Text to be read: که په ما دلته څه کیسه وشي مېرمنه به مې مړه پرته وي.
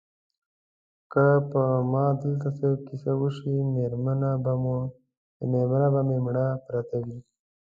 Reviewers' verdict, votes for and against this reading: rejected, 0, 2